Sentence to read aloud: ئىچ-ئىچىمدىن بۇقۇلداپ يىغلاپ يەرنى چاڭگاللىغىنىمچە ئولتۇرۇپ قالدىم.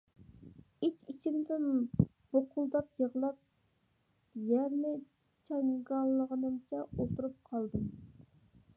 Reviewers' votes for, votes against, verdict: 2, 1, accepted